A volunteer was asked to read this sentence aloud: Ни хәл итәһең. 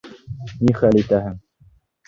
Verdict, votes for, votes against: rejected, 1, 2